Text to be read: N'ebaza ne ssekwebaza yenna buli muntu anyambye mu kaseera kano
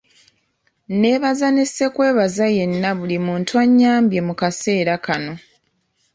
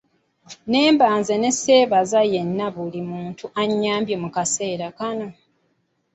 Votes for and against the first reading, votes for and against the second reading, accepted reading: 2, 0, 0, 2, first